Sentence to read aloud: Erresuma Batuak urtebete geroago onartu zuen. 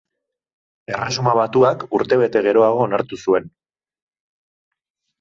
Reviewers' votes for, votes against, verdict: 2, 0, accepted